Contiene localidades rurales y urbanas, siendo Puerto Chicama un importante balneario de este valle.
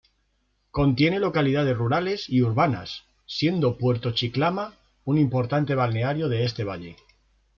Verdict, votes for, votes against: accepted, 2, 0